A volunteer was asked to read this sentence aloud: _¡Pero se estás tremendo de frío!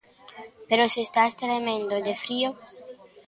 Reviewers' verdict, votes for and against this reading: accepted, 2, 0